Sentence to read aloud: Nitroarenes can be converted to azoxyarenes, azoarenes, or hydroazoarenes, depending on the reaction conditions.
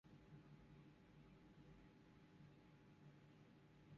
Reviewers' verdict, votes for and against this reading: rejected, 0, 2